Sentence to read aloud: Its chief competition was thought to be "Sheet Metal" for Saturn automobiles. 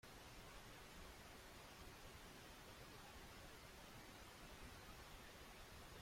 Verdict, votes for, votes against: rejected, 1, 2